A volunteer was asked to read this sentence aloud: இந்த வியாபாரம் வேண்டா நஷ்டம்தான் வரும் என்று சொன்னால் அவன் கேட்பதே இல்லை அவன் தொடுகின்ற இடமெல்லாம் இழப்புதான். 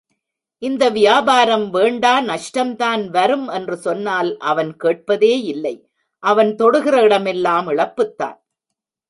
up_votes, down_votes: 1, 2